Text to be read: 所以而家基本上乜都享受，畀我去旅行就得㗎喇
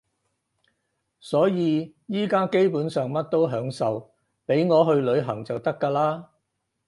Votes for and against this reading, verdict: 4, 0, accepted